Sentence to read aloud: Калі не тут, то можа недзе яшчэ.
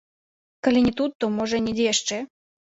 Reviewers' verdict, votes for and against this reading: accepted, 2, 0